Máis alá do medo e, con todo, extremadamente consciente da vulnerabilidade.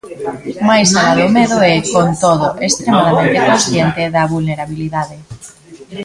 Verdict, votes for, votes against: rejected, 0, 2